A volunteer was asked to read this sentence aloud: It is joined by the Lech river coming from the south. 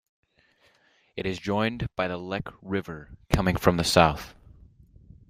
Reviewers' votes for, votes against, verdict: 2, 0, accepted